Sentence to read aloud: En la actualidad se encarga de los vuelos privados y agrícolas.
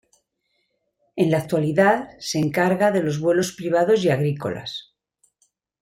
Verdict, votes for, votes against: accepted, 3, 0